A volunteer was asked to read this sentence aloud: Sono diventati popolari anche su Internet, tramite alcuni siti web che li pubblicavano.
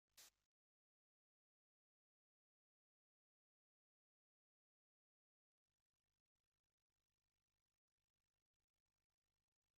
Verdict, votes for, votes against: rejected, 0, 2